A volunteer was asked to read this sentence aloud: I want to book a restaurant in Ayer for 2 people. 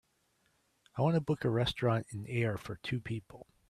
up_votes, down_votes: 0, 2